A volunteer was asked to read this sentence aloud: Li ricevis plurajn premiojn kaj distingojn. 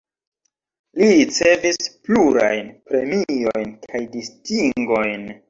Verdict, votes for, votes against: accepted, 2, 1